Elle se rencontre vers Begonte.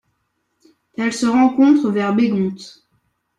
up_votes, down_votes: 2, 0